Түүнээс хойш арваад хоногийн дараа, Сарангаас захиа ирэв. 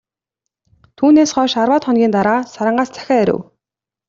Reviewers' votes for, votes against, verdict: 2, 1, accepted